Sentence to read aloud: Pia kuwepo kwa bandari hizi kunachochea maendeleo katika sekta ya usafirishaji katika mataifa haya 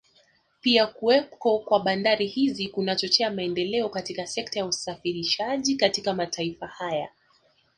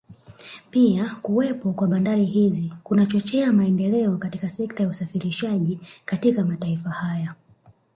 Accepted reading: first